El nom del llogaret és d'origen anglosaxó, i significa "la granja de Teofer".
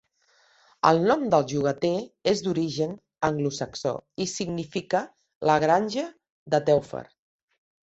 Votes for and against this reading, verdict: 1, 2, rejected